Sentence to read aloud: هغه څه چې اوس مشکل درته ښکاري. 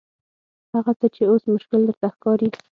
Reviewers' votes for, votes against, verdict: 6, 0, accepted